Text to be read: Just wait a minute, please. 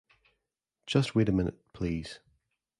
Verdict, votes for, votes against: accepted, 2, 1